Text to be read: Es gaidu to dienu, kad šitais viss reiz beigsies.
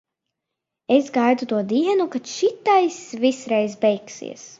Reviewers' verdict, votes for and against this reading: accepted, 2, 0